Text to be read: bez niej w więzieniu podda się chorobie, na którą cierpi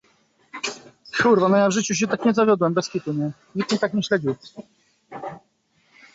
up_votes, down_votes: 0, 2